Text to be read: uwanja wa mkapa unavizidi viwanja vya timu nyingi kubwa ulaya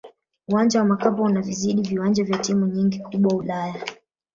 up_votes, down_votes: 0, 2